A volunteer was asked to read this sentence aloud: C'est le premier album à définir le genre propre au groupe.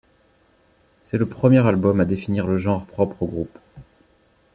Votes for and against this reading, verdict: 2, 0, accepted